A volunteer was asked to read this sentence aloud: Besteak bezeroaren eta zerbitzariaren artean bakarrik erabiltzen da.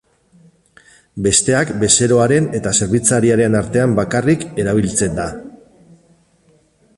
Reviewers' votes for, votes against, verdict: 4, 0, accepted